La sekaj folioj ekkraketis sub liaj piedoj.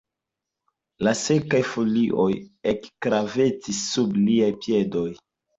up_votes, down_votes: 2, 0